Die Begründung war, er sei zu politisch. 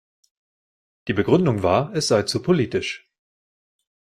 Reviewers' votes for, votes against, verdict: 0, 2, rejected